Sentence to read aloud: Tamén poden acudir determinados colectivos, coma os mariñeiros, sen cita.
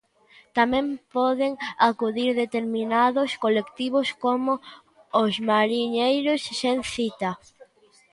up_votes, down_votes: 0, 2